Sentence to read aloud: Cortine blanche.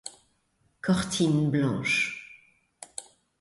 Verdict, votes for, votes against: accepted, 2, 0